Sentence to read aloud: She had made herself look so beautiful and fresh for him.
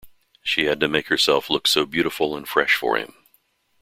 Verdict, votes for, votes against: accepted, 2, 0